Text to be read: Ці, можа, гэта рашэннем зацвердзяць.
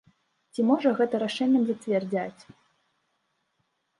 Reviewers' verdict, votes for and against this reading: rejected, 0, 2